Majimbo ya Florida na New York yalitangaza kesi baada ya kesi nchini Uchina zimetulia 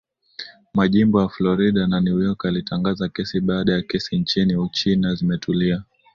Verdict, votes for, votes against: accepted, 2, 1